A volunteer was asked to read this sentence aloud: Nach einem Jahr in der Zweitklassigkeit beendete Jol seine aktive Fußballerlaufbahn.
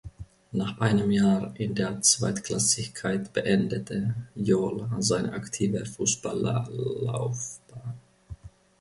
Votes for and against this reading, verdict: 1, 2, rejected